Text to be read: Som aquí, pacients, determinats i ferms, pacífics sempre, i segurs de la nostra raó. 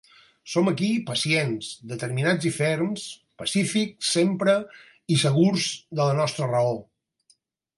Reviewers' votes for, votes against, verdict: 4, 0, accepted